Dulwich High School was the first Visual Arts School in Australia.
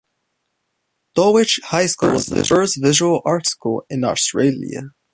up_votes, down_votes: 2, 0